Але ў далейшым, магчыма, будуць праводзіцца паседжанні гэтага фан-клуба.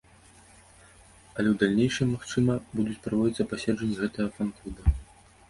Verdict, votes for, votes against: rejected, 0, 2